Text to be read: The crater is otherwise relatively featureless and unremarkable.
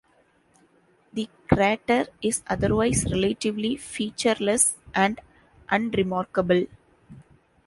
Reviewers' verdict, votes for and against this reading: accepted, 3, 0